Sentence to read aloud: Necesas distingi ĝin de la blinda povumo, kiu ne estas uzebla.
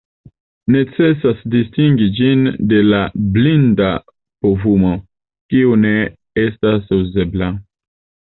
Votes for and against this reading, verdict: 2, 0, accepted